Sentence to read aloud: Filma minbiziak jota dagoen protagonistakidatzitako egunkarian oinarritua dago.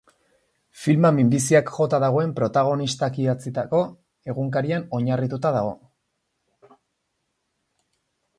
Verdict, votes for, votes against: rejected, 2, 2